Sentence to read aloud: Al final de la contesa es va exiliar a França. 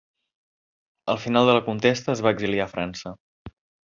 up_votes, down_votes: 0, 2